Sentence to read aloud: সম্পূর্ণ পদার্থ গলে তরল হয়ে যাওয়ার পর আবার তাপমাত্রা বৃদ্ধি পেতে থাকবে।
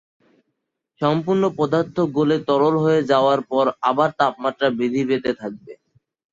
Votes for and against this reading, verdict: 2, 2, rejected